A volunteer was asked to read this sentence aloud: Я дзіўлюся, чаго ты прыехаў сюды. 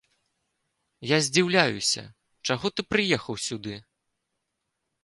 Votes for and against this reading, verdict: 0, 2, rejected